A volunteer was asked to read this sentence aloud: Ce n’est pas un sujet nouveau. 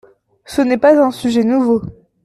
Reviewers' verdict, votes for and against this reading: accepted, 2, 0